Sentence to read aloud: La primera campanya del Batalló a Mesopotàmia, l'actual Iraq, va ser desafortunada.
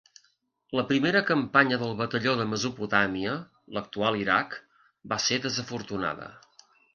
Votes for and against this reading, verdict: 2, 0, accepted